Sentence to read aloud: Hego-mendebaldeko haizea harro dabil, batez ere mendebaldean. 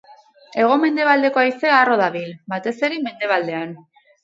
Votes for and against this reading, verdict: 2, 2, rejected